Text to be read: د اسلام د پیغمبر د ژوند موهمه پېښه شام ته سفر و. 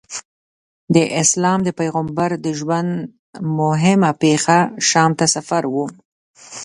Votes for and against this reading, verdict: 2, 0, accepted